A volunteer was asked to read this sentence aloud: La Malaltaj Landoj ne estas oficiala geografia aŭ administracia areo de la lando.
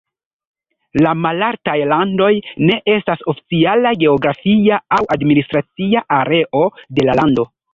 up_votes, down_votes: 1, 2